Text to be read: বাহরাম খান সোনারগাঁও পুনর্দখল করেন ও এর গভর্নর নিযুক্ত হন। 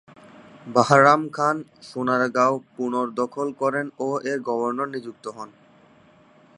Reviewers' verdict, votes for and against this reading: rejected, 2, 4